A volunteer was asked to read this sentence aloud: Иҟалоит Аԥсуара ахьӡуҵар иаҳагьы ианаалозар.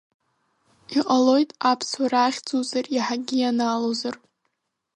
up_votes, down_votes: 2, 1